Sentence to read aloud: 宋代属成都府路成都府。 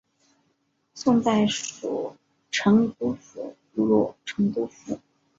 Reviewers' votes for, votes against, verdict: 2, 0, accepted